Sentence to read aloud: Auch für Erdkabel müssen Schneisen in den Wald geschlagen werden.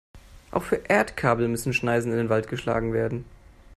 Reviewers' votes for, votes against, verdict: 2, 0, accepted